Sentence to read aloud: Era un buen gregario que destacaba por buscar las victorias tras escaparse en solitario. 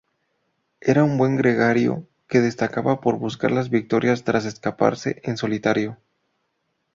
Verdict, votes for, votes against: accepted, 2, 0